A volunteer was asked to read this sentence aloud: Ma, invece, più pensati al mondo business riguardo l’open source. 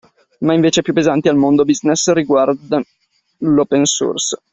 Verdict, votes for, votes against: accepted, 2, 1